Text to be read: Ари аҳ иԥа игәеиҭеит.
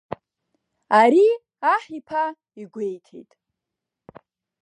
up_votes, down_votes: 1, 2